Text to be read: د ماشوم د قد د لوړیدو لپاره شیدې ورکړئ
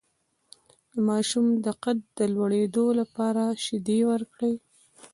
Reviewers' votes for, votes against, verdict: 1, 2, rejected